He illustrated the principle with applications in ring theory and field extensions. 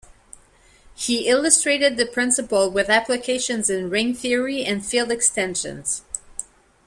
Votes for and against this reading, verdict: 2, 0, accepted